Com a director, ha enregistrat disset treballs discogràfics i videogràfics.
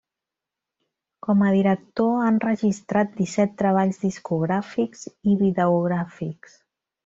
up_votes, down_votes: 0, 2